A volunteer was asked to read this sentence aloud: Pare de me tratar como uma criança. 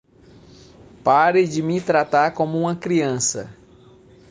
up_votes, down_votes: 2, 0